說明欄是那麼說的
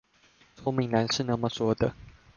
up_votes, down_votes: 2, 0